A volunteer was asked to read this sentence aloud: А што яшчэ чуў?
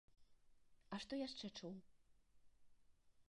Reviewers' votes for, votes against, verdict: 2, 1, accepted